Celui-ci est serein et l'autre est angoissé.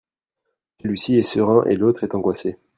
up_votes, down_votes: 1, 2